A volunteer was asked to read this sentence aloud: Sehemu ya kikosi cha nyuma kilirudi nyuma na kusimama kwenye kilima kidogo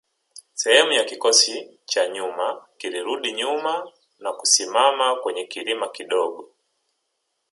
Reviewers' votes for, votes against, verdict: 1, 2, rejected